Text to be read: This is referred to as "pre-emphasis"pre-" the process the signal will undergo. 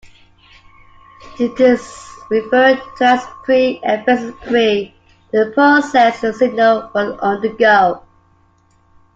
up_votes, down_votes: 1, 2